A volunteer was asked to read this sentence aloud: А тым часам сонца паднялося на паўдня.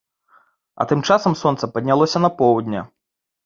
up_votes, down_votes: 0, 3